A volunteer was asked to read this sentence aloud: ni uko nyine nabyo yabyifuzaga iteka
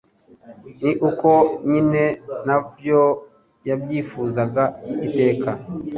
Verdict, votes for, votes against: accepted, 2, 0